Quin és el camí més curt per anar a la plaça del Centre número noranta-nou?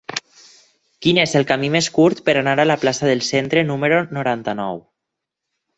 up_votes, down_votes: 6, 0